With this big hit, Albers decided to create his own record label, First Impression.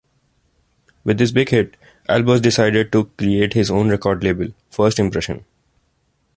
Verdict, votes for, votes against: accepted, 2, 0